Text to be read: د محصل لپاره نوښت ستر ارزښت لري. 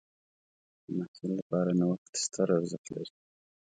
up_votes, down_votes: 1, 2